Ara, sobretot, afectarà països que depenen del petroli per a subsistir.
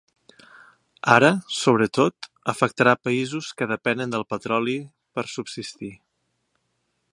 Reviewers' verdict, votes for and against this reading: rejected, 0, 2